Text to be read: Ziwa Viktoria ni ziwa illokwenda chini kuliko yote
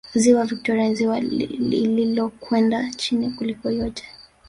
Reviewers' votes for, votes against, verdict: 2, 3, rejected